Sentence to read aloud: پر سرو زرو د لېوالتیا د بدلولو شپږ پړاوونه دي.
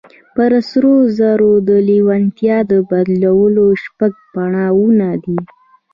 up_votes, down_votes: 1, 2